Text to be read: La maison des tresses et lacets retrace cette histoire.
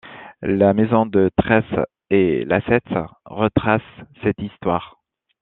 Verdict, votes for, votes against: rejected, 1, 2